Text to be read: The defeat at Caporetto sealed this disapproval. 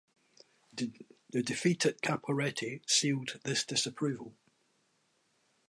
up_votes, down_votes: 1, 2